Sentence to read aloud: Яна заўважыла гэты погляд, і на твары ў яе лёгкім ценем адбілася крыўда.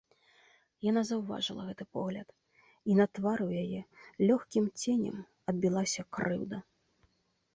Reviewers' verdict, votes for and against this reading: rejected, 1, 2